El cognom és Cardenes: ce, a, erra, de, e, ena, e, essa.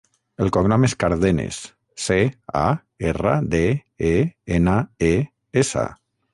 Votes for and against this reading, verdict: 6, 0, accepted